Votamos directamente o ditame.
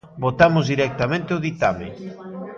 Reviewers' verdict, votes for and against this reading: accepted, 2, 0